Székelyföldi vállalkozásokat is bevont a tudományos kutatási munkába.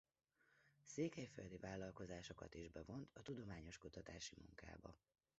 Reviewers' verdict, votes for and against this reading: rejected, 1, 2